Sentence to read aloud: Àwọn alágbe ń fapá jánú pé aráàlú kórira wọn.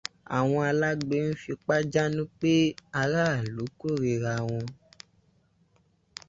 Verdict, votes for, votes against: rejected, 0, 2